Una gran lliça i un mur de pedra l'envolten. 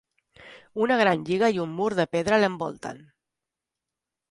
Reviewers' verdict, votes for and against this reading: rejected, 0, 2